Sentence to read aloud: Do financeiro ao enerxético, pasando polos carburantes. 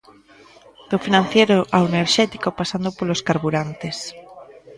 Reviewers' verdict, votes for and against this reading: rejected, 1, 2